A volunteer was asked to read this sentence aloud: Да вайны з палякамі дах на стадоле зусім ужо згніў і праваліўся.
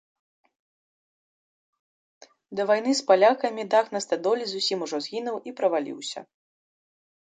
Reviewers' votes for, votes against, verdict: 0, 2, rejected